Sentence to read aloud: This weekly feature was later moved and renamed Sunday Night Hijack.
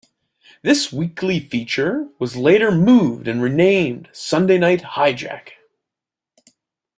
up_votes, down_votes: 2, 0